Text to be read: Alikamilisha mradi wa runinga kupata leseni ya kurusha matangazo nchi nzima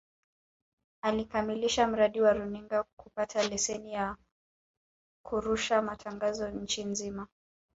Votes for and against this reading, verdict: 0, 2, rejected